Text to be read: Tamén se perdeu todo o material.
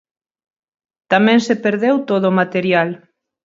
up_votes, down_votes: 4, 0